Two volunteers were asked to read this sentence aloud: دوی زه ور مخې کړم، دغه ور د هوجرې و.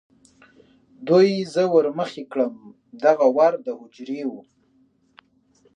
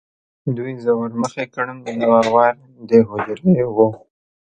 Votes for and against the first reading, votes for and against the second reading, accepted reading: 2, 0, 0, 2, first